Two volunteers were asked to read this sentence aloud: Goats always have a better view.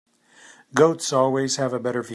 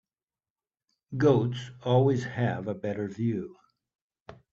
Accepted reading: second